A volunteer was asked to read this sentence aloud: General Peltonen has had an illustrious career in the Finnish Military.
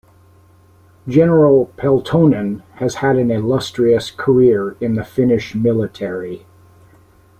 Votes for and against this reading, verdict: 2, 0, accepted